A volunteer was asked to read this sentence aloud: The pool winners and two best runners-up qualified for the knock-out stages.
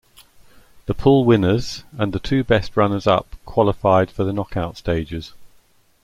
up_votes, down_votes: 0, 2